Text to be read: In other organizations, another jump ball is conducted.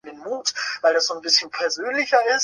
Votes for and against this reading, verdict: 0, 2, rejected